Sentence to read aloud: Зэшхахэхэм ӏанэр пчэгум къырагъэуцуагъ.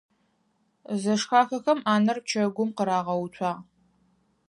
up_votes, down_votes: 4, 0